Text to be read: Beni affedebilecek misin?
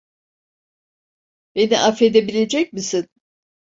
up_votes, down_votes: 2, 0